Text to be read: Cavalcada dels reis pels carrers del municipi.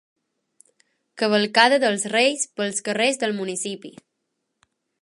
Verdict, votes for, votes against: accepted, 4, 0